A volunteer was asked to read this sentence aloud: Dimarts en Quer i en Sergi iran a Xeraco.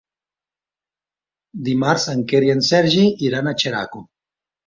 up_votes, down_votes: 3, 0